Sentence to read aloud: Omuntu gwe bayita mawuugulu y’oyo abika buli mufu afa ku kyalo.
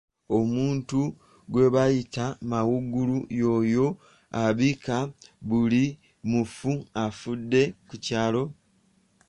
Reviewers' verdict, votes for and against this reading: rejected, 1, 2